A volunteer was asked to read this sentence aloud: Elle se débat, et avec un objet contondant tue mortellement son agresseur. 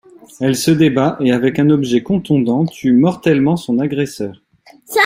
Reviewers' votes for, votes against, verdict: 2, 0, accepted